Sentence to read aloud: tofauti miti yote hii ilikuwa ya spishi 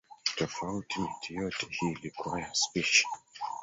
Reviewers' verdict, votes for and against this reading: rejected, 1, 3